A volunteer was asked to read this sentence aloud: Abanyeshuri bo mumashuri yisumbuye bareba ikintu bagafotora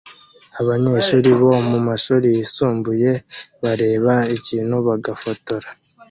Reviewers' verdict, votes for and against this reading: accepted, 2, 0